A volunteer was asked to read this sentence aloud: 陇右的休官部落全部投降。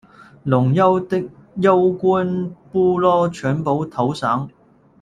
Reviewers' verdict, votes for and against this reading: rejected, 0, 2